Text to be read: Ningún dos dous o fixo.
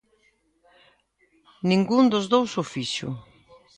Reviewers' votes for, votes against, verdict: 2, 0, accepted